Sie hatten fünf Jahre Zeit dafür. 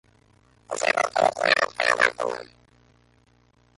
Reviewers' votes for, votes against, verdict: 0, 2, rejected